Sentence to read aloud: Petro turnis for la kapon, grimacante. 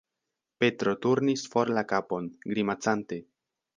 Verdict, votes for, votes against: accepted, 2, 0